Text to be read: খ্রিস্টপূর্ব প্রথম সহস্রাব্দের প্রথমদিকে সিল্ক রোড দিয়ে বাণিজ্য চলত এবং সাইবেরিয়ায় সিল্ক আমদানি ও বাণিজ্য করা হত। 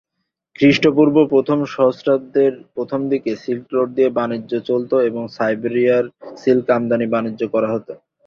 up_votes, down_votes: 2, 0